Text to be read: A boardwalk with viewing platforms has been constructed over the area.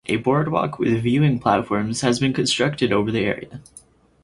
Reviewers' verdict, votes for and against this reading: accepted, 4, 0